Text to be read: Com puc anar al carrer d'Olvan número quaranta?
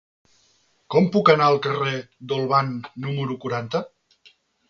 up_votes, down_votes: 3, 0